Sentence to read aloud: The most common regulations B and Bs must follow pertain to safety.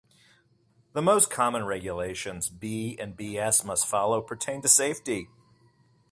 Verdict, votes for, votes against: rejected, 1, 2